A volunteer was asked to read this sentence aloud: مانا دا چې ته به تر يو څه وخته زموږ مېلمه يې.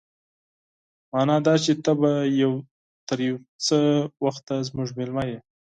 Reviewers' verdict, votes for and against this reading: rejected, 2, 4